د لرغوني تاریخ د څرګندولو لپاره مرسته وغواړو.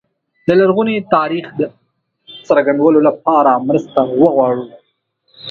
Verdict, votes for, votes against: accepted, 2, 0